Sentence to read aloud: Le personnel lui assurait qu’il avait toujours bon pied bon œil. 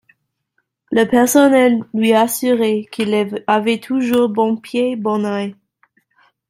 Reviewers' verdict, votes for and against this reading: rejected, 1, 2